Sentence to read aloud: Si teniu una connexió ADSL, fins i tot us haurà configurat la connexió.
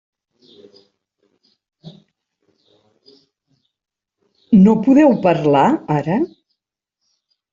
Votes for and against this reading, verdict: 0, 2, rejected